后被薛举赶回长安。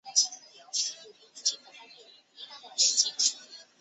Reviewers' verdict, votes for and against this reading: rejected, 0, 4